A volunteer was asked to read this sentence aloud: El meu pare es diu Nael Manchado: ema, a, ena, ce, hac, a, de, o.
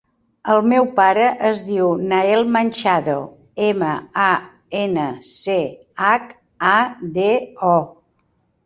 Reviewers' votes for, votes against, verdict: 4, 0, accepted